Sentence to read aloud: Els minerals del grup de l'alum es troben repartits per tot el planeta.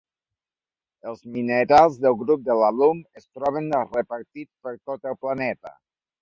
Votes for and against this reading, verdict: 0, 2, rejected